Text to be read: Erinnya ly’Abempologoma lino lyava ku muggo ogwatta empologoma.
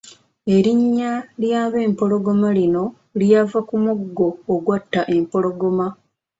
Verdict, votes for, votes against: accepted, 2, 0